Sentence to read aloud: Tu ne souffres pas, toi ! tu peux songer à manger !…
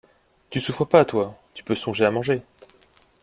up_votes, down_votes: 0, 2